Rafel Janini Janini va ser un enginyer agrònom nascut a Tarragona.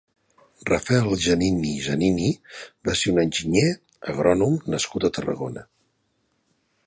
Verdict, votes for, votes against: accepted, 2, 0